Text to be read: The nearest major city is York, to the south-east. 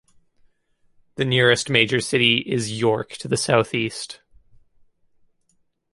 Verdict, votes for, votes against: accepted, 2, 0